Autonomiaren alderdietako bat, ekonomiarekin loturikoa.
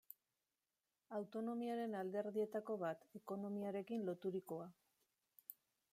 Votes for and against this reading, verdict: 0, 2, rejected